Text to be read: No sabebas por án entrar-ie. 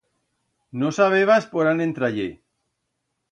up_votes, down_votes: 2, 0